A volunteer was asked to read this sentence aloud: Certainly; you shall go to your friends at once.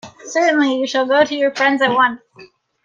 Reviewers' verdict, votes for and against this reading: rejected, 0, 2